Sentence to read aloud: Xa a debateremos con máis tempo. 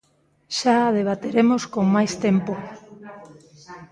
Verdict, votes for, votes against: rejected, 1, 2